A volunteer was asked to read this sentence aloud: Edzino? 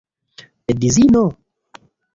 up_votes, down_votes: 2, 1